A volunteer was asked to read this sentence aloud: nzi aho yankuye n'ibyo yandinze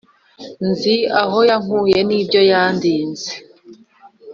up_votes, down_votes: 2, 0